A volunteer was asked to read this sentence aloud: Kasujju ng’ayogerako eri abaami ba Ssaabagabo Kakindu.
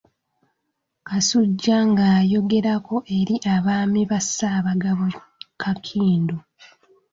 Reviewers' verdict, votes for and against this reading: accepted, 2, 1